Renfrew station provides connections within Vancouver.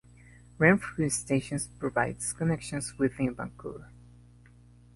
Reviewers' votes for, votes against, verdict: 1, 2, rejected